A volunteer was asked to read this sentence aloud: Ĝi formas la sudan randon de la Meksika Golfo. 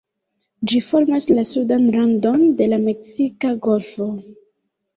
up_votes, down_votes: 0, 2